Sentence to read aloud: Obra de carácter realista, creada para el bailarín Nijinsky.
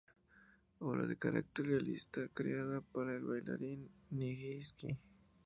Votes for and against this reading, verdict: 2, 0, accepted